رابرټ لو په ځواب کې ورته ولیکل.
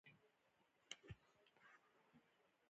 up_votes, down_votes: 2, 0